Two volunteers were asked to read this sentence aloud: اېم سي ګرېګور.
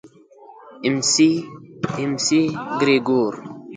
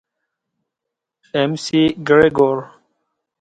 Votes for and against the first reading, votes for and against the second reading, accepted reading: 0, 2, 3, 0, second